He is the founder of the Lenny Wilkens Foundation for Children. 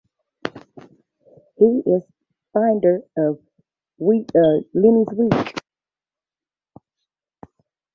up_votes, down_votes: 0, 2